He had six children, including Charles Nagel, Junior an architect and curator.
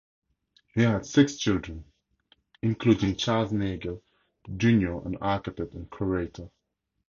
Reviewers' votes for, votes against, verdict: 2, 0, accepted